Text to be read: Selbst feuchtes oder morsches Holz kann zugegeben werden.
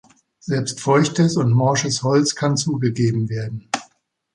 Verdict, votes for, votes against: rejected, 1, 3